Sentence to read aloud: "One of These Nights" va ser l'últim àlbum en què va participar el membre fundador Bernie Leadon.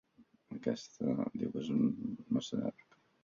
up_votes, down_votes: 0, 3